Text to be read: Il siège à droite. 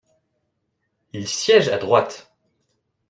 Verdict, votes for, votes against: accepted, 2, 0